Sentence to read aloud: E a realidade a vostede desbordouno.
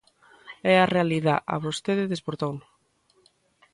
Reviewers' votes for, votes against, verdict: 0, 2, rejected